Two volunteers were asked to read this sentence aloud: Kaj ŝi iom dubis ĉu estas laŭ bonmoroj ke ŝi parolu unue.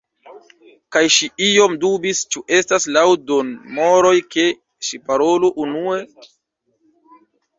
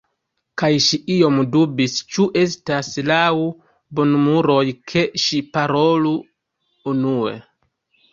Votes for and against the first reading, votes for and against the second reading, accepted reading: 2, 1, 1, 2, first